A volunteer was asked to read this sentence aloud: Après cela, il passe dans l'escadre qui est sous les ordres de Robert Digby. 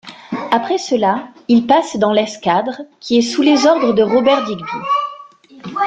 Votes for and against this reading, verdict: 1, 2, rejected